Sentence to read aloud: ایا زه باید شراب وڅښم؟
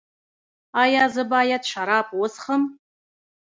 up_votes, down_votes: 1, 2